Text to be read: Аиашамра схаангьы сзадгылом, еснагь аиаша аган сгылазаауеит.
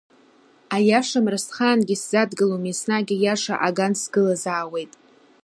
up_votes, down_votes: 2, 0